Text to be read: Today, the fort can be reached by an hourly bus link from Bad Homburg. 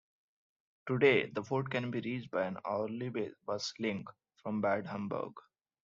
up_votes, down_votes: 1, 2